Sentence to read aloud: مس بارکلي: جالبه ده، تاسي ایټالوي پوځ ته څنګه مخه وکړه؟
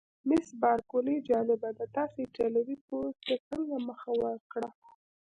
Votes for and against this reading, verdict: 1, 2, rejected